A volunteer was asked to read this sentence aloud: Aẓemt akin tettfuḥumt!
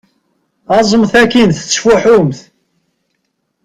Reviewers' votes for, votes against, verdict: 4, 0, accepted